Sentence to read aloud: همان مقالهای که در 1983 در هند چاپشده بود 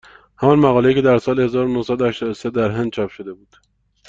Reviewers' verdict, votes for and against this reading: rejected, 0, 2